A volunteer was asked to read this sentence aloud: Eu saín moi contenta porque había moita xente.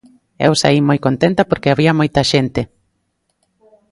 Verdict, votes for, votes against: accepted, 2, 1